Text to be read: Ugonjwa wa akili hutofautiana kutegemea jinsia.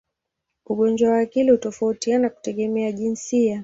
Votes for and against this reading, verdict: 6, 0, accepted